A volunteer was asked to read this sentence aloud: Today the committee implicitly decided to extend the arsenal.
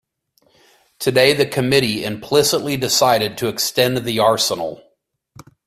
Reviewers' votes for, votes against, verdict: 2, 0, accepted